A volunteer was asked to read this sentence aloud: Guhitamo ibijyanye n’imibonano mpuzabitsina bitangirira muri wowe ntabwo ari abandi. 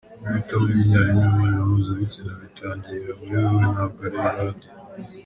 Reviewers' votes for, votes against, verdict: 0, 2, rejected